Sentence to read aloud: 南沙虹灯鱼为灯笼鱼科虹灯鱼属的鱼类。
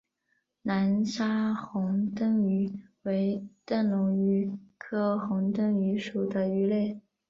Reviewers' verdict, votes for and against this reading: accepted, 3, 0